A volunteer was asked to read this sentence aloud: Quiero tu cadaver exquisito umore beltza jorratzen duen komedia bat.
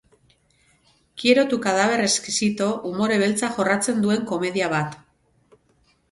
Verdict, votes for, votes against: accepted, 6, 0